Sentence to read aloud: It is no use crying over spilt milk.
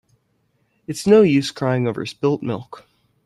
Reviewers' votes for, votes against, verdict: 1, 2, rejected